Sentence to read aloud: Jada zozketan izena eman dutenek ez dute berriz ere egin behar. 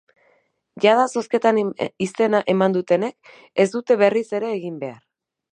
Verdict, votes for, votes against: rejected, 2, 8